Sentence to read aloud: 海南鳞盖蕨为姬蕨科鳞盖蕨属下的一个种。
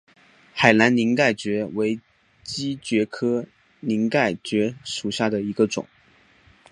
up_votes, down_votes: 5, 0